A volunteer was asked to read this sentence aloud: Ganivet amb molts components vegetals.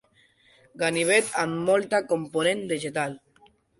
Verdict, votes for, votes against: rejected, 1, 2